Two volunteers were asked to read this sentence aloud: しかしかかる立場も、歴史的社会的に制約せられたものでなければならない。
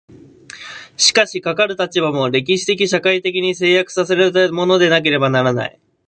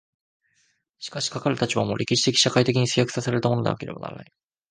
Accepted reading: second